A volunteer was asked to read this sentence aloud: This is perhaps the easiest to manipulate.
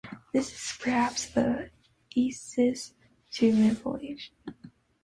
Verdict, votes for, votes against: rejected, 0, 2